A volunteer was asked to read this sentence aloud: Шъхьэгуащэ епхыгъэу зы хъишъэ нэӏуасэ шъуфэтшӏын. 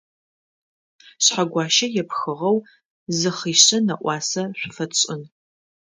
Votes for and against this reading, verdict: 2, 0, accepted